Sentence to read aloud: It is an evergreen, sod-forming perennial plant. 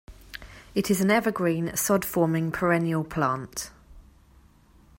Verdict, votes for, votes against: accepted, 2, 0